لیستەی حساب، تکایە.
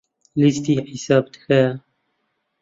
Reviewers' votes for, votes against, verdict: 0, 2, rejected